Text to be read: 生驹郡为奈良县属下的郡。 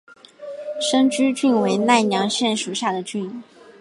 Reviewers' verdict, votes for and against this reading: accepted, 2, 0